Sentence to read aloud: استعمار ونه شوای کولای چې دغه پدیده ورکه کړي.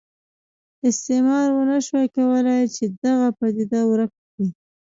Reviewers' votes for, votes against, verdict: 1, 2, rejected